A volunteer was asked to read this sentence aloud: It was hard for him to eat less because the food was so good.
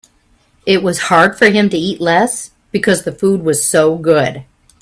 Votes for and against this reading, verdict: 3, 0, accepted